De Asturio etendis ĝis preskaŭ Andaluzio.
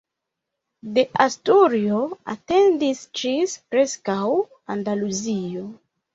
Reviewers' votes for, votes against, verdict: 1, 2, rejected